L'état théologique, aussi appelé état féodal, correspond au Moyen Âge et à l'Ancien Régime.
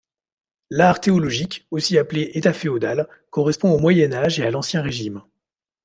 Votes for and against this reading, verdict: 0, 2, rejected